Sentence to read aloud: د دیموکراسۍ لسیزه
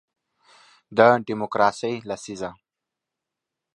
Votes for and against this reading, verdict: 2, 0, accepted